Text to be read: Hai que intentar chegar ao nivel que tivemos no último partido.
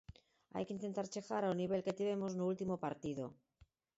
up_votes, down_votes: 4, 2